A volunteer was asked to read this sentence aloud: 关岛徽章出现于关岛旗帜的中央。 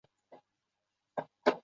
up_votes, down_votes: 0, 2